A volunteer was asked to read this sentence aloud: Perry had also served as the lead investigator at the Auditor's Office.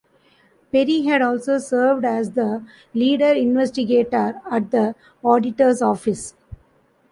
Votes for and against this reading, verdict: 0, 2, rejected